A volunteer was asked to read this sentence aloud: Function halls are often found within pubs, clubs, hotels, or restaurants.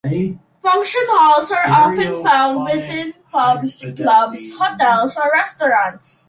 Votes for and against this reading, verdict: 2, 1, accepted